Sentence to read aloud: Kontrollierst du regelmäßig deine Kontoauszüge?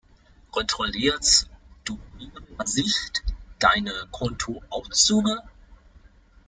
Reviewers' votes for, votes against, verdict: 1, 2, rejected